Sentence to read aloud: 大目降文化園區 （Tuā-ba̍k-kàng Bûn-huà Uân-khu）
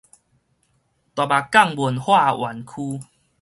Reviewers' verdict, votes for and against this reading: rejected, 2, 2